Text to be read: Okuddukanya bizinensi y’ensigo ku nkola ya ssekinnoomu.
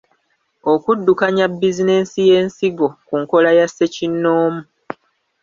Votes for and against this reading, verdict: 1, 2, rejected